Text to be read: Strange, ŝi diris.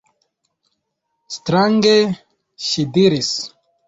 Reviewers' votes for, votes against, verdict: 2, 1, accepted